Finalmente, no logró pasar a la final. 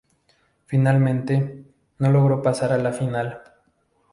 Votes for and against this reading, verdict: 2, 0, accepted